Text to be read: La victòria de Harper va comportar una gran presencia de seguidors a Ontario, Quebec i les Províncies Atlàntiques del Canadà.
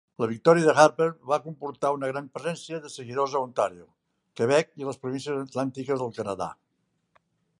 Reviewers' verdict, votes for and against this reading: accepted, 2, 0